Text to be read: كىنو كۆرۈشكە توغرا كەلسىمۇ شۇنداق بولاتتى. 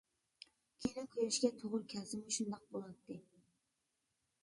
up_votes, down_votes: 1, 2